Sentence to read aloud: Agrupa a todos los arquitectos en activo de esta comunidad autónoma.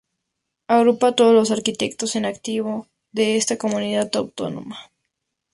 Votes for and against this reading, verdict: 2, 0, accepted